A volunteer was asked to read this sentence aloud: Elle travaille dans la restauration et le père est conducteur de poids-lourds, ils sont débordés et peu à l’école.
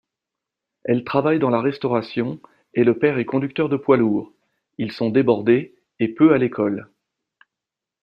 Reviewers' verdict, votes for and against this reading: accepted, 2, 0